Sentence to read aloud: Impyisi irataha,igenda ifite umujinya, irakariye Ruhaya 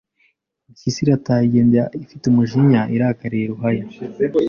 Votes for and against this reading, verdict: 2, 0, accepted